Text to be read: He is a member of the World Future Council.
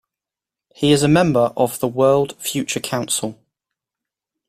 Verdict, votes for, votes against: accepted, 2, 0